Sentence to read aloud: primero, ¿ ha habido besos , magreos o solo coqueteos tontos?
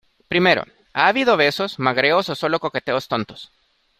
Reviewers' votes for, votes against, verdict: 2, 0, accepted